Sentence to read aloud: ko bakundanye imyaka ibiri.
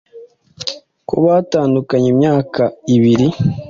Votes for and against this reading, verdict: 1, 2, rejected